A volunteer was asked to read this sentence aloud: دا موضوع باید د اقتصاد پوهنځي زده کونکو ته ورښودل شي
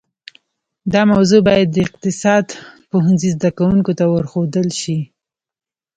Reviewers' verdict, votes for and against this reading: rejected, 1, 2